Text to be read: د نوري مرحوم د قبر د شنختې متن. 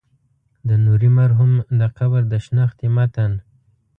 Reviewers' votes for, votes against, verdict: 2, 0, accepted